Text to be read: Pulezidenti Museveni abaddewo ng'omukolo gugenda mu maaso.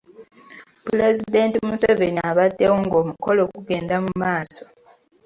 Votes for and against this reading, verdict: 2, 0, accepted